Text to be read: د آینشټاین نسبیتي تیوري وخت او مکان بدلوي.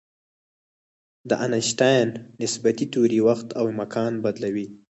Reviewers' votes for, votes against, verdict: 4, 0, accepted